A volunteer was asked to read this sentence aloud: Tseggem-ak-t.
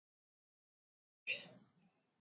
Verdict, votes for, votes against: rejected, 1, 2